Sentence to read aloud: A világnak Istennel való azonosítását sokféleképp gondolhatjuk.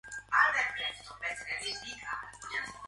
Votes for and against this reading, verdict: 0, 2, rejected